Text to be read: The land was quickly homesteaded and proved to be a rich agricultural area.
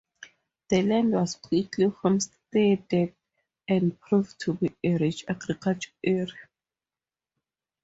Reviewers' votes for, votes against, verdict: 2, 0, accepted